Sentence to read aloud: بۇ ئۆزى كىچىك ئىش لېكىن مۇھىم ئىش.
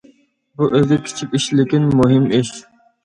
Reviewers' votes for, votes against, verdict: 2, 0, accepted